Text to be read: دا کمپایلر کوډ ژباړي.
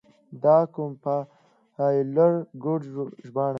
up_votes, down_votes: 1, 2